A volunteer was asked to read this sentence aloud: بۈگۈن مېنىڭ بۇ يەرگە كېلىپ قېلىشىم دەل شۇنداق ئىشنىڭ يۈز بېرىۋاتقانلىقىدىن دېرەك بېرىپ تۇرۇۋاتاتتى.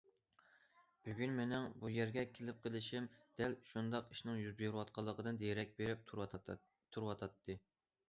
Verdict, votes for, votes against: rejected, 0, 2